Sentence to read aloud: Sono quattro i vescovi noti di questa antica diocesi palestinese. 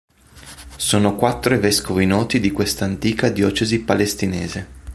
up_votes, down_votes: 2, 1